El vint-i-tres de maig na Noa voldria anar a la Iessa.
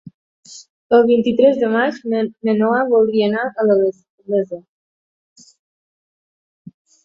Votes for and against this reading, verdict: 0, 2, rejected